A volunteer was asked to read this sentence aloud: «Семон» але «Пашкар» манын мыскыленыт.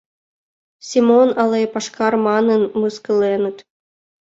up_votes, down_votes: 2, 0